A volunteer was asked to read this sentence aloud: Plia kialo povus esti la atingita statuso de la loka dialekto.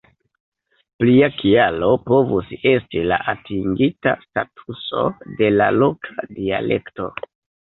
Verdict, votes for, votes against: accepted, 2, 1